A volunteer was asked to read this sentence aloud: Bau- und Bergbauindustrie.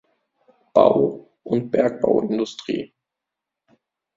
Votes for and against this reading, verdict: 2, 0, accepted